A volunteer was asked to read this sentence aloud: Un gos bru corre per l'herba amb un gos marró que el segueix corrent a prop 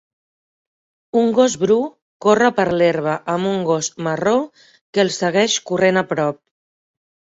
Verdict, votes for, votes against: accepted, 3, 0